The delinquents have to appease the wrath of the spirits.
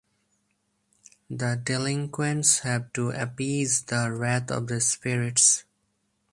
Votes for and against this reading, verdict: 4, 0, accepted